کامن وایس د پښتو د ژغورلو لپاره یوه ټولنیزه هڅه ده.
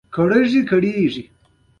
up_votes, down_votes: 2, 0